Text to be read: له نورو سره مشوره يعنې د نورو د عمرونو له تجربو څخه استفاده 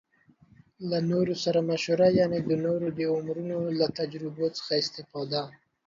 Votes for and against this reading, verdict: 2, 0, accepted